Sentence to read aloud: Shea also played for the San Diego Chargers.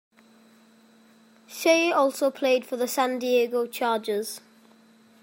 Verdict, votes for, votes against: accepted, 2, 0